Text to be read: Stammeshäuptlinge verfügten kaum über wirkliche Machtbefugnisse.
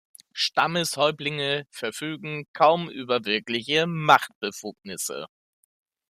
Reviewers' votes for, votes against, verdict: 1, 2, rejected